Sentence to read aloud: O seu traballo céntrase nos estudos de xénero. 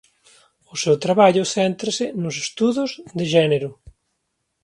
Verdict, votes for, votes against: rejected, 1, 2